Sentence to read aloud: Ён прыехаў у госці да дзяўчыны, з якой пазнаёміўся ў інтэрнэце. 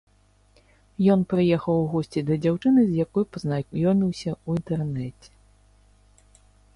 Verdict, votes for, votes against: rejected, 1, 3